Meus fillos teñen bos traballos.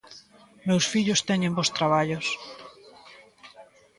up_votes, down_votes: 2, 0